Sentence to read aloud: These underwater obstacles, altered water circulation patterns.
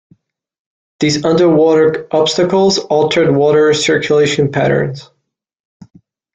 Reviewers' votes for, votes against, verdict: 3, 0, accepted